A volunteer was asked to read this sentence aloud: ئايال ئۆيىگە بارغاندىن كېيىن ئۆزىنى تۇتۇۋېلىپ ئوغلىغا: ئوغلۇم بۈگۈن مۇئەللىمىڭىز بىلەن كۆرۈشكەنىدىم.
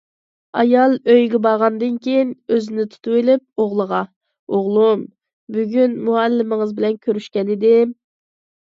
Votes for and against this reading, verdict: 2, 1, accepted